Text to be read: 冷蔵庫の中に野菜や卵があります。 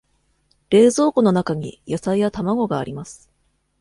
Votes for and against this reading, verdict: 2, 0, accepted